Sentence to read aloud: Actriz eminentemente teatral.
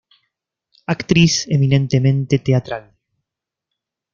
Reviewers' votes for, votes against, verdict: 2, 0, accepted